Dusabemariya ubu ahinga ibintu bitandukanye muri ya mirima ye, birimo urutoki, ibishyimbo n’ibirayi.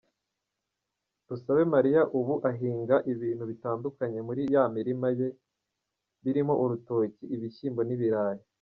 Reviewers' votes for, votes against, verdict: 1, 2, rejected